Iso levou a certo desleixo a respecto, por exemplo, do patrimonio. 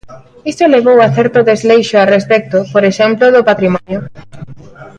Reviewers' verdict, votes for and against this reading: rejected, 1, 2